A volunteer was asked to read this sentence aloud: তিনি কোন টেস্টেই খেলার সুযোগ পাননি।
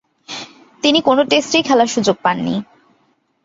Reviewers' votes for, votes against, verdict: 2, 0, accepted